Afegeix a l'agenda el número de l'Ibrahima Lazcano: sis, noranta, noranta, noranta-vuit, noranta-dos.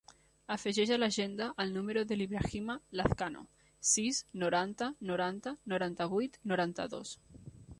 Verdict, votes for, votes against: accepted, 3, 0